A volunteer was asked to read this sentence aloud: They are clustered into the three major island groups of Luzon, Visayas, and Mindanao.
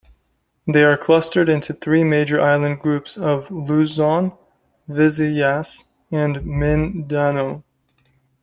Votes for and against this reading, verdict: 2, 1, accepted